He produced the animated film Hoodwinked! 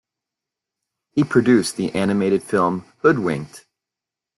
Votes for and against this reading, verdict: 2, 0, accepted